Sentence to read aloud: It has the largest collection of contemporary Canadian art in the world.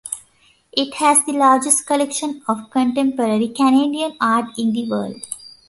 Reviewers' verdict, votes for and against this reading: accepted, 2, 0